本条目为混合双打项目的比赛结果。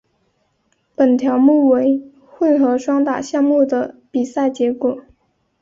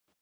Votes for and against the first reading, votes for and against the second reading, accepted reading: 2, 1, 0, 2, first